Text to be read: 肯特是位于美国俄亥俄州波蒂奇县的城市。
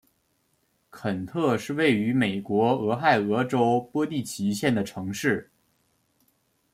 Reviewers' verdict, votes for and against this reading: accepted, 2, 0